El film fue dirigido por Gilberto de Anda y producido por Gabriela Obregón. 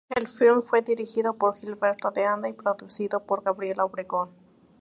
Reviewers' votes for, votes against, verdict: 2, 0, accepted